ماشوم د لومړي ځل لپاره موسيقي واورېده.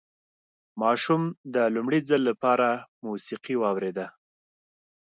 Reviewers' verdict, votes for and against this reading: accepted, 2, 0